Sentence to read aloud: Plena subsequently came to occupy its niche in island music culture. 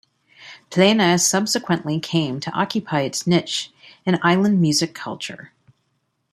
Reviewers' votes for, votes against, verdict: 0, 2, rejected